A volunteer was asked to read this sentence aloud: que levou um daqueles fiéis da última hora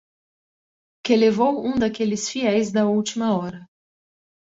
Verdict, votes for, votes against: accepted, 2, 0